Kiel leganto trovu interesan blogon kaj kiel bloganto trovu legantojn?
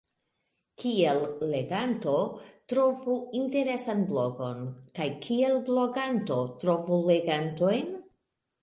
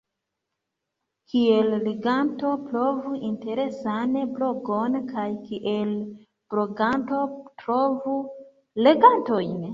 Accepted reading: first